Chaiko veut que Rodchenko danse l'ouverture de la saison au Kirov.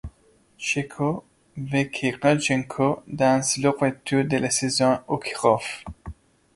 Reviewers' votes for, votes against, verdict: 2, 0, accepted